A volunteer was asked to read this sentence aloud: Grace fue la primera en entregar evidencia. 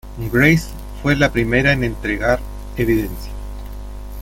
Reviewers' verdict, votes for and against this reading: rejected, 1, 2